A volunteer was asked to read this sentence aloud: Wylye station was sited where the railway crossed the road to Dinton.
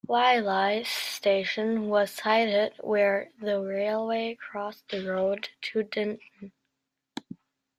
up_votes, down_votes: 0, 2